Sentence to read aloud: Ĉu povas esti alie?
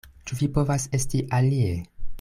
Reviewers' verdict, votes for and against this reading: rejected, 1, 2